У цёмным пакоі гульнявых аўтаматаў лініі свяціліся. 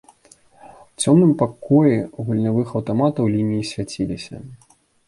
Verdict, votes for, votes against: accepted, 2, 0